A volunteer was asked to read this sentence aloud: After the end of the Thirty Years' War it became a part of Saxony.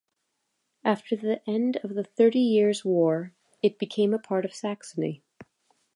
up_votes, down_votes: 2, 0